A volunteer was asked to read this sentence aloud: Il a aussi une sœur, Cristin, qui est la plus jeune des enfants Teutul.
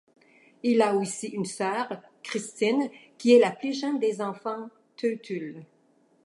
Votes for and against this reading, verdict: 2, 0, accepted